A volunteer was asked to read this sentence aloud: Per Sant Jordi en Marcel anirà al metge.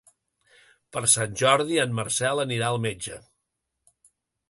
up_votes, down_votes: 3, 0